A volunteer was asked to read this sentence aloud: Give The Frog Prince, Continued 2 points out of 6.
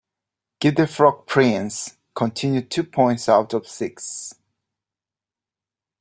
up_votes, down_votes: 0, 2